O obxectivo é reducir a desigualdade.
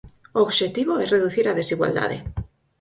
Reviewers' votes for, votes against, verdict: 4, 0, accepted